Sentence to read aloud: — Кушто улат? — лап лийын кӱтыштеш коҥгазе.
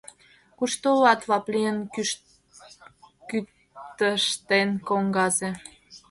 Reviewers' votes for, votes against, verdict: 0, 2, rejected